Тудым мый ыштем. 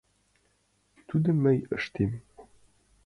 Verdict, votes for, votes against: accepted, 2, 1